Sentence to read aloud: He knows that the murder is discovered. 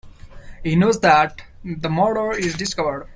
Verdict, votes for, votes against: accepted, 2, 0